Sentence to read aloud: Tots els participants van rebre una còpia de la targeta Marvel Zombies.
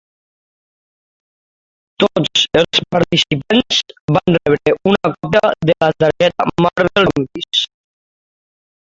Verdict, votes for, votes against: rejected, 0, 2